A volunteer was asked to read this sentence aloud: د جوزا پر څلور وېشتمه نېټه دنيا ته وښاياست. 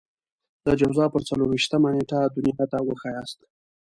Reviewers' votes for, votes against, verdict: 2, 0, accepted